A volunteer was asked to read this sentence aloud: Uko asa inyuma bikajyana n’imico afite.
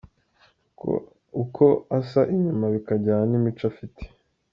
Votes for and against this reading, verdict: 1, 2, rejected